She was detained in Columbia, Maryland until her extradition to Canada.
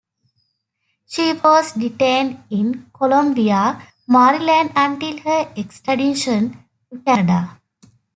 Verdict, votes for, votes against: rejected, 0, 2